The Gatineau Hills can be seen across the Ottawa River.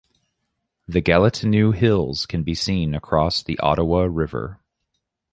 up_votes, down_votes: 0, 2